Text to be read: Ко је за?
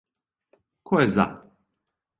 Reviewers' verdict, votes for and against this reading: accepted, 2, 0